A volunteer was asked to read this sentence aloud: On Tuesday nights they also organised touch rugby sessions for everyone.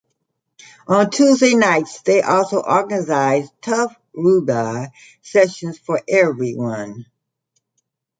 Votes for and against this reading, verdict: 0, 2, rejected